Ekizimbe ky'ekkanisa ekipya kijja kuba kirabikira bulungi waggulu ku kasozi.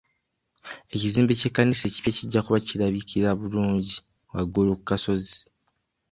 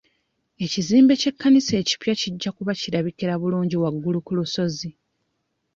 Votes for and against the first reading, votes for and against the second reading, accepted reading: 2, 0, 1, 3, first